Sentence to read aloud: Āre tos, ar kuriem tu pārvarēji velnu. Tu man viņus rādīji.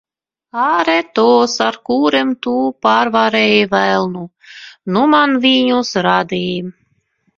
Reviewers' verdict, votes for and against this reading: rejected, 0, 2